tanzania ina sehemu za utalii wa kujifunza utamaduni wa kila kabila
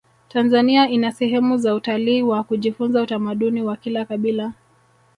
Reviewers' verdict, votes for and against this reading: rejected, 0, 2